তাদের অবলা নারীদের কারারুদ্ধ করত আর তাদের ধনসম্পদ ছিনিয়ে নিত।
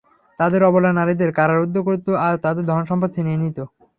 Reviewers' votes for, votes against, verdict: 3, 0, accepted